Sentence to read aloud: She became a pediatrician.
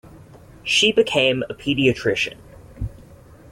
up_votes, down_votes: 2, 0